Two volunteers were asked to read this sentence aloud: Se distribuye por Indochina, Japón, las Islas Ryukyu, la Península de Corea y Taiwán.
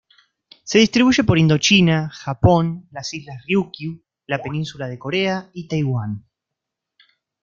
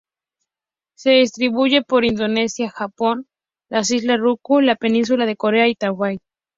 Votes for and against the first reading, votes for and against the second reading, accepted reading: 1, 2, 4, 2, second